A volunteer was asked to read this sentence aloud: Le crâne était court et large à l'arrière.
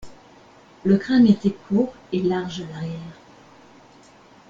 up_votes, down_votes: 1, 2